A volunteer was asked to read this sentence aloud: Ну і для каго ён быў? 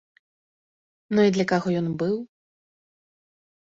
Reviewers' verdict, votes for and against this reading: accepted, 2, 0